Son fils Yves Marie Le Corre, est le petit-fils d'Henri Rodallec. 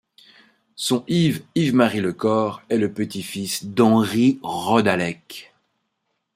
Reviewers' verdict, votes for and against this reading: rejected, 0, 2